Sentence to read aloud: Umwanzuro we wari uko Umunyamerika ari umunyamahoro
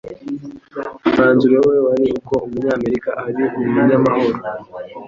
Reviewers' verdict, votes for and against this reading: accepted, 2, 0